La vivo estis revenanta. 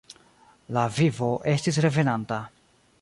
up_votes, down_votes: 2, 0